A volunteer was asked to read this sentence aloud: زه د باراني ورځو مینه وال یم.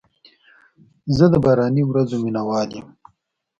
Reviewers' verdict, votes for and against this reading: accepted, 4, 0